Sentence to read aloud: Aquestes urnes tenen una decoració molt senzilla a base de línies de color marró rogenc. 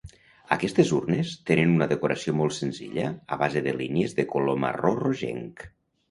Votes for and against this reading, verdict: 2, 0, accepted